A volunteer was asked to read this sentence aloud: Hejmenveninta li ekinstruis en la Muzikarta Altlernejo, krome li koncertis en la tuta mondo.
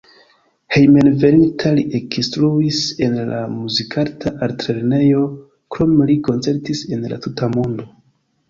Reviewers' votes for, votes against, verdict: 2, 0, accepted